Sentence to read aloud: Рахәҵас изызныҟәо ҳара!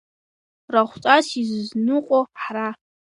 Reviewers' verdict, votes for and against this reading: accepted, 3, 0